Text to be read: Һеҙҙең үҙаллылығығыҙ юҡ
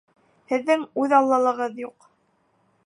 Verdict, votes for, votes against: rejected, 1, 2